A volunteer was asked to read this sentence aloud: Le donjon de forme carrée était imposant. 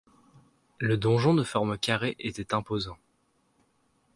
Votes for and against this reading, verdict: 2, 0, accepted